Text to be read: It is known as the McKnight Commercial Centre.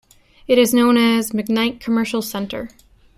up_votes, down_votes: 1, 2